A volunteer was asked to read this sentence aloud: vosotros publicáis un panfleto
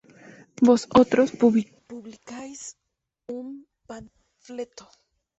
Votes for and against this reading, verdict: 2, 8, rejected